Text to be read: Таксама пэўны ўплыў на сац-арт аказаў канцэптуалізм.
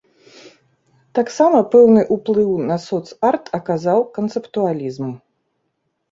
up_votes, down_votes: 1, 2